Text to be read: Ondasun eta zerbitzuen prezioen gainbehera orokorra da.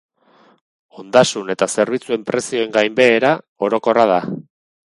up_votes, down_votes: 0, 2